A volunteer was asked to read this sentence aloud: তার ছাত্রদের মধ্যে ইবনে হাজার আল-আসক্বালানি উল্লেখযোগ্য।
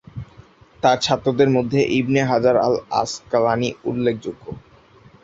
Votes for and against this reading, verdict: 6, 2, accepted